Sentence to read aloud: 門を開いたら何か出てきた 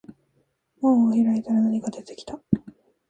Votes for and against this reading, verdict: 1, 2, rejected